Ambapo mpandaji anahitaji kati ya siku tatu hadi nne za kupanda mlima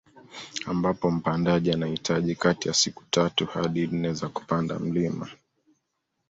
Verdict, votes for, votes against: rejected, 1, 2